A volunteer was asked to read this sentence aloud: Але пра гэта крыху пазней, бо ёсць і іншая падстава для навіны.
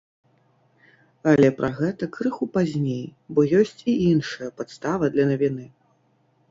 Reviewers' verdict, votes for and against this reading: rejected, 1, 2